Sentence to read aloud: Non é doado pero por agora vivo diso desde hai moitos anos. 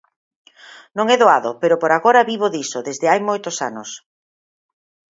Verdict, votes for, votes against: accepted, 30, 0